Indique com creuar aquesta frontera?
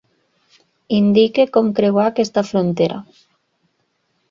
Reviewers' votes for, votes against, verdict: 1, 2, rejected